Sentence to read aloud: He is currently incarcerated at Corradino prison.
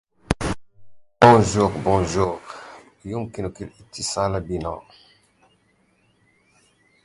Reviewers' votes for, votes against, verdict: 0, 2, rejected